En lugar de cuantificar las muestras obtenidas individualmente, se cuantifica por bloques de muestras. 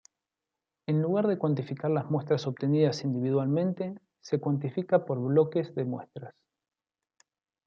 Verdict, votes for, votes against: accepted, 2, 0